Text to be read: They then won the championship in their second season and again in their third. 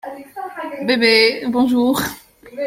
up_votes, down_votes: 0, 2